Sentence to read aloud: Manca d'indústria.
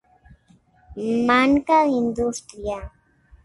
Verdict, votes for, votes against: accepted, 2, 0